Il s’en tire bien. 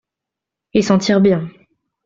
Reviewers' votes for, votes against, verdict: 2, 0, accepted